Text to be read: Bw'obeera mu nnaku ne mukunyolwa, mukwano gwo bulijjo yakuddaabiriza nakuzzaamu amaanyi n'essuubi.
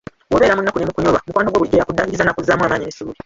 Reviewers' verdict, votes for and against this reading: rejected, 0, 2